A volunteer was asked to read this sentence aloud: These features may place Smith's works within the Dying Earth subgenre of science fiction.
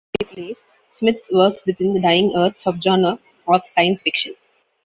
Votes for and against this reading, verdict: 0, 2, rejected